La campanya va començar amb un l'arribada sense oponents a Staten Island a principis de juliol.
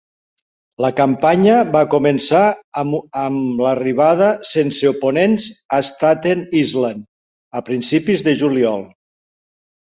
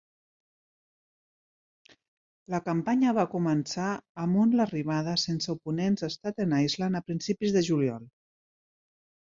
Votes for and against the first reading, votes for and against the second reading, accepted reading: 1, 2, 2, 0, second